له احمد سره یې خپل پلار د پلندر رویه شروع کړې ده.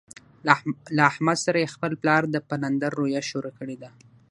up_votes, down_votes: 0, 3